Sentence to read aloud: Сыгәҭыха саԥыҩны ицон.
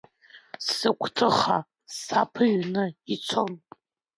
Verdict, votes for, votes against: accepted, 2, 1